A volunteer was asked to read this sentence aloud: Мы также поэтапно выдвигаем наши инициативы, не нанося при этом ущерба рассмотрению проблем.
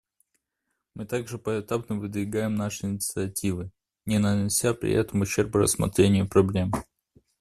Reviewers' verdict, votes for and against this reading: accepted, 2, 0